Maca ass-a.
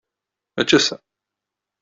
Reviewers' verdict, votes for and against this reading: rejected, 0, 2